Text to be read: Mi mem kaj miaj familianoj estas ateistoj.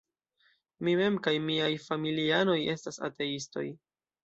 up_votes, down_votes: 2, 1